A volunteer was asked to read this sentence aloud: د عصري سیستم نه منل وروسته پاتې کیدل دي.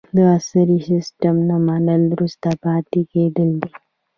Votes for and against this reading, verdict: 1, 2, rejected